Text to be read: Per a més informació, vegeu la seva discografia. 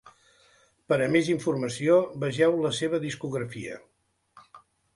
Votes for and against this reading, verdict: 2, 0, accepted